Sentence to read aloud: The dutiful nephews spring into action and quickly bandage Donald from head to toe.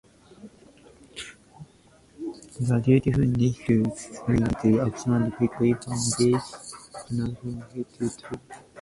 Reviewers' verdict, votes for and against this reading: rejected, 0, 2